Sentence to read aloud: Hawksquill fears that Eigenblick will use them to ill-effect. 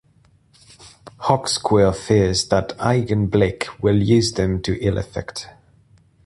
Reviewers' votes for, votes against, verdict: 2, 0, accepted